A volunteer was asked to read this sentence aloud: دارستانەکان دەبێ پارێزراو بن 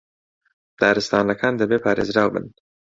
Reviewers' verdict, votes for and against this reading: rejected, 1, 2